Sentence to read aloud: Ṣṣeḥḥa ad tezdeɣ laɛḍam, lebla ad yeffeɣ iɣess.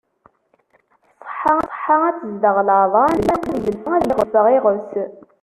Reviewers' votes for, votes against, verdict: 0, 2, rejected